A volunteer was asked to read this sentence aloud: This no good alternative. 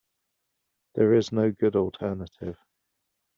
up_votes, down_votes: 0, 2